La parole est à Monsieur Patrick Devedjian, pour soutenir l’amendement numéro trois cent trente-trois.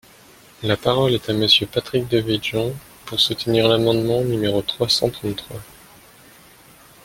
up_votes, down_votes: 2, 0